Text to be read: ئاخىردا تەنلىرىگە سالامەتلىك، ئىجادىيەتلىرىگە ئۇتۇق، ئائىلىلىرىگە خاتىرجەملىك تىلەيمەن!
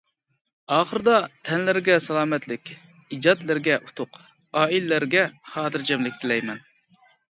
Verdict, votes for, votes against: rejected, 0, 2